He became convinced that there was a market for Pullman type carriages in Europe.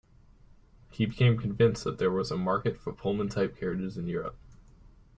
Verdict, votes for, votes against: rejected, 1, 2